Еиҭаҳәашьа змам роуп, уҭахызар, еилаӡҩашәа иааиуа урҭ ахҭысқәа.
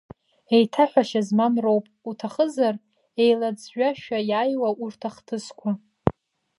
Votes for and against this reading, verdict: 0, 2, rejected